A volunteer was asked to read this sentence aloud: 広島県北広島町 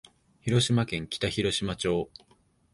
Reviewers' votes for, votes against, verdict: 2, 0, accepted